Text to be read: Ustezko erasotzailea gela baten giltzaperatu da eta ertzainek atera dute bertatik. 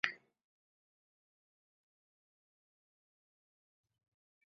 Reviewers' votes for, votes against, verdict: 0, 2, rejected